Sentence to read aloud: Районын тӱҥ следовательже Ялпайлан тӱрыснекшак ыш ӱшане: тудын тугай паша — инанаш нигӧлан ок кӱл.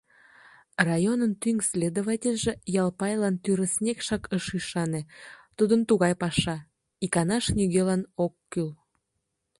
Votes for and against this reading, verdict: 1, 2, rejected